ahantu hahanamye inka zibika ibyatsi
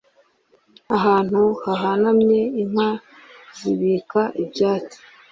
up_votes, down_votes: 3, 0